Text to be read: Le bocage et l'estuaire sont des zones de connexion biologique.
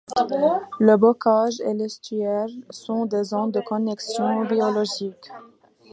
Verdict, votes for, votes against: rejected, 0, 2